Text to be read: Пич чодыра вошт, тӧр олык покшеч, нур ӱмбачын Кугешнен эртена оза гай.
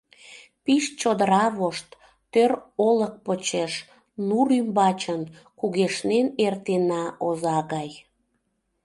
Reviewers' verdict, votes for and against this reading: rejected, 1, 2